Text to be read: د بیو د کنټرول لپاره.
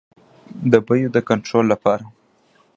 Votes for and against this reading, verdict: 1, 2, rejected